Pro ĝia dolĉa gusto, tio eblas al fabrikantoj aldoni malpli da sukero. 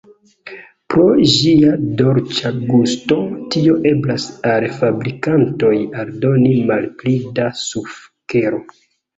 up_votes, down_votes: 2, 1